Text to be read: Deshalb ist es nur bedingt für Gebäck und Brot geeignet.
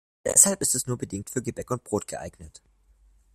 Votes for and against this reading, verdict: 1, 2, rejected